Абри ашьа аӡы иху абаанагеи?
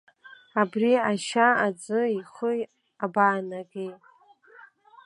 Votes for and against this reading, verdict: 0, 2, rejected